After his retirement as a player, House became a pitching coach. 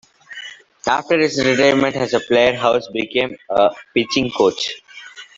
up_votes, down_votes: 0, 3